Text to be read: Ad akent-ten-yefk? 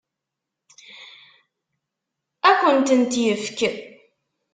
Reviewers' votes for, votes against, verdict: 2, 1, accepted